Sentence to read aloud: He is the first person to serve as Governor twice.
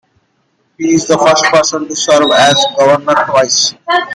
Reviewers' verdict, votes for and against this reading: rejected, 1, 2